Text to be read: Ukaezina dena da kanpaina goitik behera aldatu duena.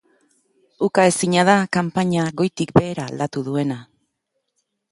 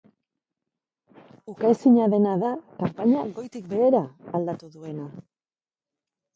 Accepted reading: second